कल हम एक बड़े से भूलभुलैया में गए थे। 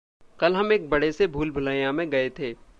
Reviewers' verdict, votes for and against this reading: accepted, 2, 0